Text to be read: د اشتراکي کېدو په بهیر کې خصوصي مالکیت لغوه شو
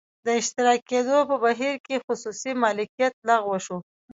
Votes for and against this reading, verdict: 1, 2, rejected